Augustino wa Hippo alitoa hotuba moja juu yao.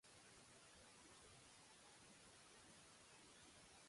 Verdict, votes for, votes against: rejected, 0, 2